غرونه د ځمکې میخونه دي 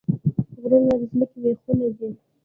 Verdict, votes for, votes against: rejected, 1, 2